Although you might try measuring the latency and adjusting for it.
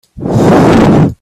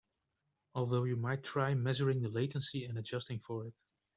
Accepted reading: second